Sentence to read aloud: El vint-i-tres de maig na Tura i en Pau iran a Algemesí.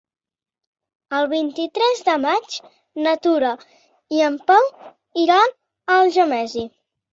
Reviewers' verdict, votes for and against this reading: rejected, 0, 3